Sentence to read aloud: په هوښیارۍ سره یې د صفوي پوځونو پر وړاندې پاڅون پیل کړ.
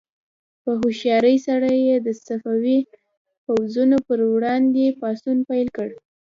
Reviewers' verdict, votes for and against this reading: accepted, 2, 0